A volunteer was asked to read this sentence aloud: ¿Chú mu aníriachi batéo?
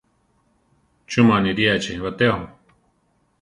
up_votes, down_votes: 1, 2